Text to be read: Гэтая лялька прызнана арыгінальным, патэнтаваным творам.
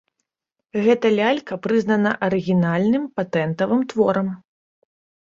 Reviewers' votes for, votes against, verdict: 1, 2, rejected